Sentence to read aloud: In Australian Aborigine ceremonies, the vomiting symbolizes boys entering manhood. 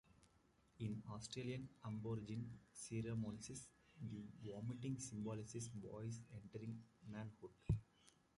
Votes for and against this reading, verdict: 1, 2, rejected